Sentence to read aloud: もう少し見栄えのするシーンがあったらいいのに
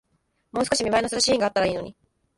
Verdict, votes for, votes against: accepted, 2, 0